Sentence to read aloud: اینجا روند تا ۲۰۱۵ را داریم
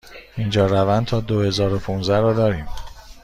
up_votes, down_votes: 0, 2